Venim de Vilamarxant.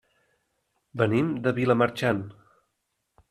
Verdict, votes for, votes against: accepted, 3, 0